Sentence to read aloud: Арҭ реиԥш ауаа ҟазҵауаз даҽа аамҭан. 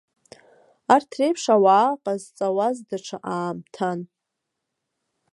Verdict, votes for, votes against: accepted, 2, 0